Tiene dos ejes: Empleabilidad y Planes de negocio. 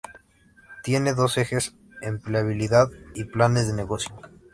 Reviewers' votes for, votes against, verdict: 2, 0, accepted